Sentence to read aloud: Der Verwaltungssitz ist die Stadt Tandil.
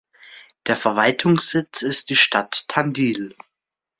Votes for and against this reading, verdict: 2, 0, accepted